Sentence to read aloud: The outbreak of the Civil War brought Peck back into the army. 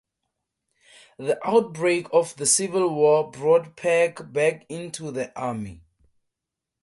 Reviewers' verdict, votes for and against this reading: accepted, 2, 0